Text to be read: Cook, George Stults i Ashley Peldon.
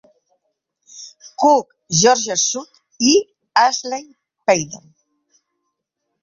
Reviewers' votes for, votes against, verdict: 0, 2, rejected